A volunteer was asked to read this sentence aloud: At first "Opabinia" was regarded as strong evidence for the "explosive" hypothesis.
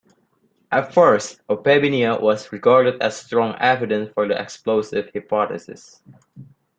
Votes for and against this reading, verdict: 2, 1, accepted